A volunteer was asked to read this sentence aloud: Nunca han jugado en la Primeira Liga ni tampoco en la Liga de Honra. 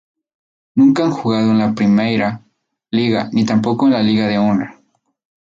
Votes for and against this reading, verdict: 2, 0, accepted